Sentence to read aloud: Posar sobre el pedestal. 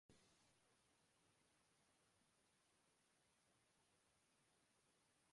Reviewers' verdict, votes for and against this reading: rejected, 0, 2